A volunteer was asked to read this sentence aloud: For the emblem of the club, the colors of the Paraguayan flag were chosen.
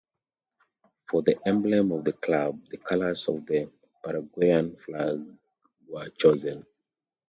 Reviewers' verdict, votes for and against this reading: accepted, 2, 0